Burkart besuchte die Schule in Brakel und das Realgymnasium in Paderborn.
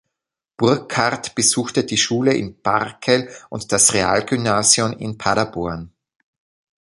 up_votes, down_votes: 0, 2